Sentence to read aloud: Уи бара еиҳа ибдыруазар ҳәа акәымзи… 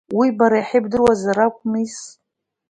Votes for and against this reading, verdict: 0, 2, rejected